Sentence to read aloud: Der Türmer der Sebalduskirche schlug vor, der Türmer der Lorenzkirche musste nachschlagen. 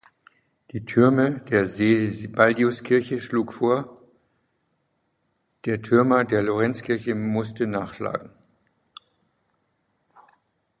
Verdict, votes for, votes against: rejected, 0, 2